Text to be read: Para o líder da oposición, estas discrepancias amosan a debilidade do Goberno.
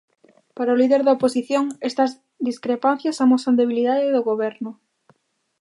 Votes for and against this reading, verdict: 0, 2, rejected